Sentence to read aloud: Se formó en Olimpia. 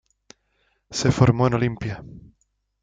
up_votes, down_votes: 2, 0